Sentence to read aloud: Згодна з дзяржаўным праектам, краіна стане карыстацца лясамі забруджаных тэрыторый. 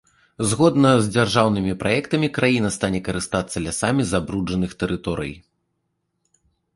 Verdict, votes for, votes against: rejected, 1, 2